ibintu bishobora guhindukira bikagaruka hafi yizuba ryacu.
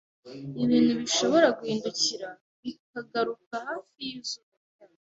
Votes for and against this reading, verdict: 2, 0, accepted